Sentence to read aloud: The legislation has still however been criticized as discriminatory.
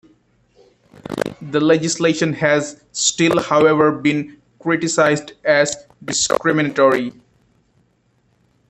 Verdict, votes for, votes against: rejected, 1, 2